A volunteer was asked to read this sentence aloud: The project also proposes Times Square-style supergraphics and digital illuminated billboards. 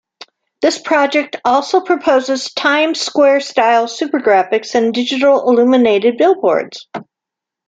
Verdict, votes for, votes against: rejected, 0, 2